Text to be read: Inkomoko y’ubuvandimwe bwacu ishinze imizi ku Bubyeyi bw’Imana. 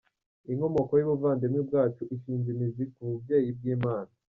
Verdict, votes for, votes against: rejected, 1, 2